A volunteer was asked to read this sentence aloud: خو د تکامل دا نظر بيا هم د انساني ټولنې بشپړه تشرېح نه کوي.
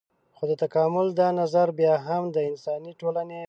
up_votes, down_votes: 2, 3